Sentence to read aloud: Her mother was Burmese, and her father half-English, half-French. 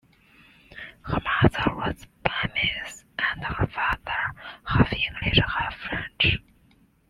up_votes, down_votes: 2, 0